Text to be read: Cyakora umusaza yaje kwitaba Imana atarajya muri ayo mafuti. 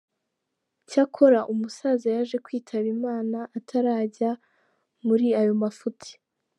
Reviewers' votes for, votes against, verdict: 2, 0, accepted